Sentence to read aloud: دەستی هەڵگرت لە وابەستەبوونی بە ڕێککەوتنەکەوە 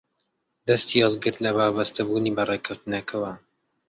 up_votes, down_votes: 2, 1